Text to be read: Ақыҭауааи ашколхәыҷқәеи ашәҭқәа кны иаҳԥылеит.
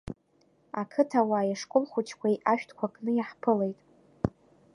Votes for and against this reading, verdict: 2, 0, accepted